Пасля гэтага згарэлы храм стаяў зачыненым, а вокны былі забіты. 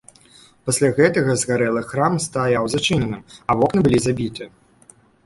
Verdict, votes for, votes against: accepted, 2, 0